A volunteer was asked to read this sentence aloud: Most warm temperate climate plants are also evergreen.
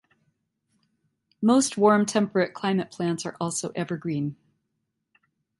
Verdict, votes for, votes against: accepted, 2, 0